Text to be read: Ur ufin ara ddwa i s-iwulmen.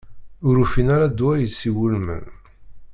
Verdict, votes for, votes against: rejected, 1, 2